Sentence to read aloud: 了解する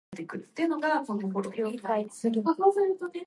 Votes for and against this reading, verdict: 1, 2, rejected